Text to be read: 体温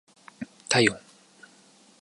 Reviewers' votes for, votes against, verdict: 2, 0, accepted